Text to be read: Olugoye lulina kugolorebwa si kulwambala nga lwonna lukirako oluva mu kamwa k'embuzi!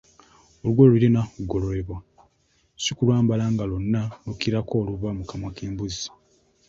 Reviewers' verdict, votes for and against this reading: accepted, 2, 0